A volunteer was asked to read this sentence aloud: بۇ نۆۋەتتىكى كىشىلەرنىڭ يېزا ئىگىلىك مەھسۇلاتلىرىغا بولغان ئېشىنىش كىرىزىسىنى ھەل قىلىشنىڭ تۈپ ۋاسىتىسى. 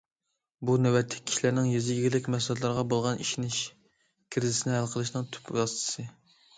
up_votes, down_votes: 2, 0